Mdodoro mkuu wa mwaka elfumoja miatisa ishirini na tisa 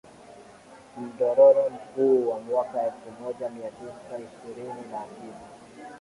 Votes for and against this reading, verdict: 1, 2, rejected